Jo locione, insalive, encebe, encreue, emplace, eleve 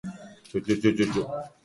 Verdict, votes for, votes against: rejected, 0, 2